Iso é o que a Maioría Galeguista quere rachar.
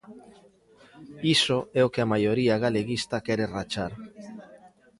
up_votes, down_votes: 2, 0